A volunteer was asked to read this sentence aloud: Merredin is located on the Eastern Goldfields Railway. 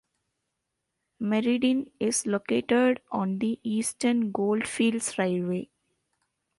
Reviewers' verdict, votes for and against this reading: accepted, 2, 0